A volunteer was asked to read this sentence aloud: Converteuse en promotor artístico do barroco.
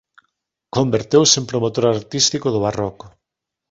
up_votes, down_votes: 2, 0